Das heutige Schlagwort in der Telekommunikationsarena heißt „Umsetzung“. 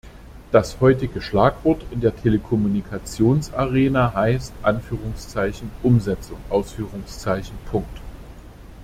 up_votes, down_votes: 0, 2